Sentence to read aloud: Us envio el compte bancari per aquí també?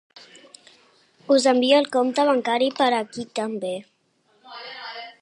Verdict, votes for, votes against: rejected, 0, 2